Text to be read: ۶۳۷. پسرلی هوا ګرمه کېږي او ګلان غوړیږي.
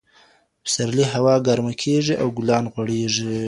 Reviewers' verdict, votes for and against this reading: rejected, 0, 2